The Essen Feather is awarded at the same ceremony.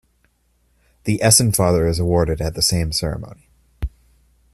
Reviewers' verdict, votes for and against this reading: accepted, 2, 0